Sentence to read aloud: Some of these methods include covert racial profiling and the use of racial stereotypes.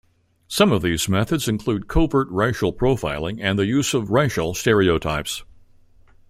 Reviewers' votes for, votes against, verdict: 1, 2, rejected